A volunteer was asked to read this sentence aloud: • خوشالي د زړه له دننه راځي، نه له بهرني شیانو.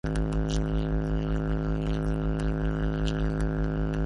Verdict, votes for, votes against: rejected, 0, 2